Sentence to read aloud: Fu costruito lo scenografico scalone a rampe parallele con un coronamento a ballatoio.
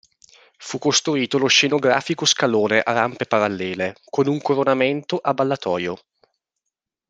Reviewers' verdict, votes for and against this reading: accepted, 2, 1